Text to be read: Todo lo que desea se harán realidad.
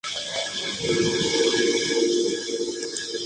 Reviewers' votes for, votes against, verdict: 0, 2, rejected